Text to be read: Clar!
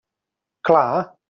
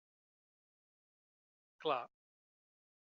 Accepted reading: first